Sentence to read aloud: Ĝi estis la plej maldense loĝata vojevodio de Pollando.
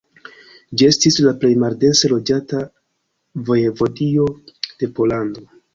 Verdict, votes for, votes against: rejected, 0, 2